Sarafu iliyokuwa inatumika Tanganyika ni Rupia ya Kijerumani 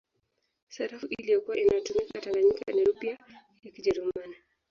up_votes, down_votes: 1, 3